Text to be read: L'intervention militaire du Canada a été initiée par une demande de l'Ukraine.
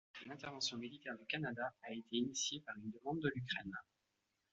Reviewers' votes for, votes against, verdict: 1, 2, rejected